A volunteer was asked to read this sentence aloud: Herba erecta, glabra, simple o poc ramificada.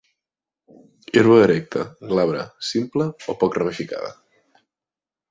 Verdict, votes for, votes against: accepted, 2, 0